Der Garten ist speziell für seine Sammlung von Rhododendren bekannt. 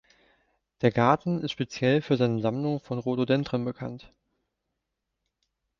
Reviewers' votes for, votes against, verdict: 2, 0, accepted